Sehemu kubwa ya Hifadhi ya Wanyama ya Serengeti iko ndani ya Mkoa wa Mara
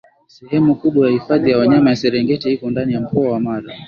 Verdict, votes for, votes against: accepted, 2, 0